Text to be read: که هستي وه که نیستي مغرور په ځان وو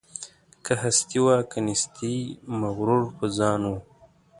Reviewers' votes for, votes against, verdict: 2, 0, accepted